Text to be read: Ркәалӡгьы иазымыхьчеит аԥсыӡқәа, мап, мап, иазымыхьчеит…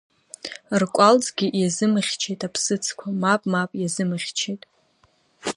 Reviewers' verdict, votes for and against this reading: accepted, 2, 1